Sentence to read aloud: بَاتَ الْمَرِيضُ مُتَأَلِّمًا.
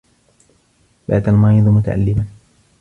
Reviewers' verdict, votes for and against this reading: accepted, 2, 1